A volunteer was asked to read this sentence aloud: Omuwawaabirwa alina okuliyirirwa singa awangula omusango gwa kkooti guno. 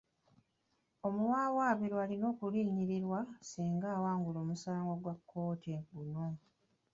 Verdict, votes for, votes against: rejected, 0, 2